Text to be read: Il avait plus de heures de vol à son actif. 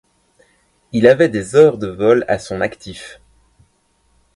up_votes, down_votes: 0, 2